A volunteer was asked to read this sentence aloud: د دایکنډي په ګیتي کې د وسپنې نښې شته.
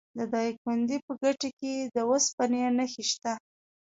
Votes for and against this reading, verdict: 1, 2, rejected